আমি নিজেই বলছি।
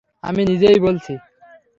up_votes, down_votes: 3, 0